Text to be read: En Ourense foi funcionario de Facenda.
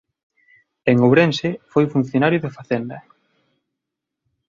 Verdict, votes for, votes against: accepted, 2, 0